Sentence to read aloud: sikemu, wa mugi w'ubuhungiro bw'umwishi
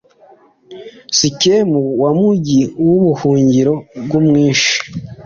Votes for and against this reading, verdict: 2, 0, accepted